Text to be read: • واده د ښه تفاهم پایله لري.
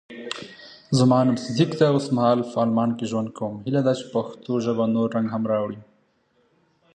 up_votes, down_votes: 0, 2